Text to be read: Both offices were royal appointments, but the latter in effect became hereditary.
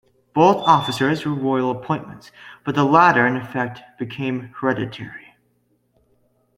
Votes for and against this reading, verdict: 1, 2, rejected